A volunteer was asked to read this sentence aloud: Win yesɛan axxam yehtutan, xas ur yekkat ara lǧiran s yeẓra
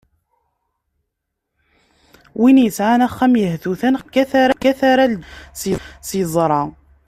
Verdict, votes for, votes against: rejected, 0, 2